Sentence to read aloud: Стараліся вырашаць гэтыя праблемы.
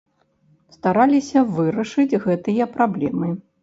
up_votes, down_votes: 1, 2